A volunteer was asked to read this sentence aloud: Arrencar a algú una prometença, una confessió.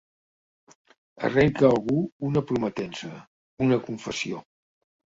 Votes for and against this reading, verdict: 1, 2, rejected